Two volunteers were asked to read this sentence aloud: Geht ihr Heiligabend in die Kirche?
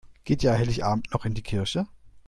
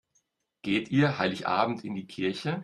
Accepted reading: second